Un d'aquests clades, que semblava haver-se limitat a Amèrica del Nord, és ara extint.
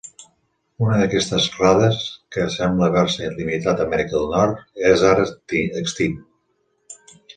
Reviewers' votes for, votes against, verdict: 0, 3, rejected